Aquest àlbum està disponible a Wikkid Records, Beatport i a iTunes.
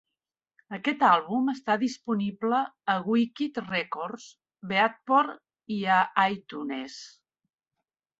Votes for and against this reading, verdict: 0, 2, rejected